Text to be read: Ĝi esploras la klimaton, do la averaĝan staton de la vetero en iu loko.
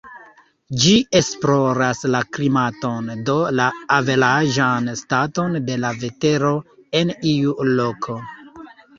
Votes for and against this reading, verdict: 2, 1, accepted